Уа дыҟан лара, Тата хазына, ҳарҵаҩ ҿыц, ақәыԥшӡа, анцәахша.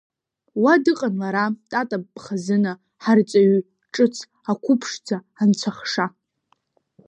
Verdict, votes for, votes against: accepted, 2, 1